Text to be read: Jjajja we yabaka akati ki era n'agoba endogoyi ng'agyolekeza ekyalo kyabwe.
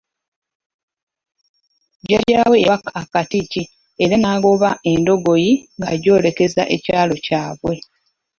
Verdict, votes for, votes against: rejected, 1, 2